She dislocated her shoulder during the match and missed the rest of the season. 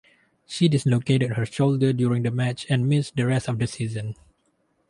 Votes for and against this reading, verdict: 0, 2, rejected